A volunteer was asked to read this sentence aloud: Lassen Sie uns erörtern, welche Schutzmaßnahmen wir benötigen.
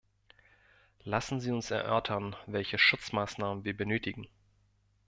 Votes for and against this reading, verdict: 2, 0, accepted